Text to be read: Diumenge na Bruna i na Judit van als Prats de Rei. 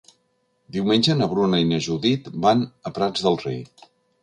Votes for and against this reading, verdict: 1, 2, rejected